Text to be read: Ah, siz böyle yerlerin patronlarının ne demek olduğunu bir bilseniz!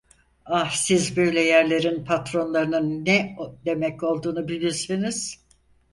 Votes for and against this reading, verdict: 0, 4, rejected